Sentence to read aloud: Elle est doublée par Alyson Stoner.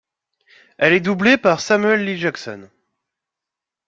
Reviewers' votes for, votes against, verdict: 0, 2, rejected